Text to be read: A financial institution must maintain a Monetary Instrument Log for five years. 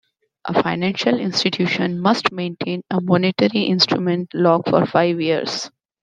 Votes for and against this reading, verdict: 2, 0, accepted